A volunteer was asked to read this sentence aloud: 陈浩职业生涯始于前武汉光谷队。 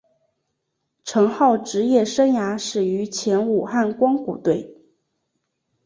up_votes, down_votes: 2, 0